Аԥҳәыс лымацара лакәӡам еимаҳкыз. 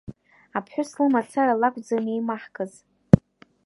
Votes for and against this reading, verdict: 1, 2, rejected